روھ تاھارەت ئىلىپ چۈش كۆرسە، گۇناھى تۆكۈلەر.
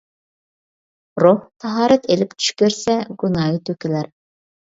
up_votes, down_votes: 2, 0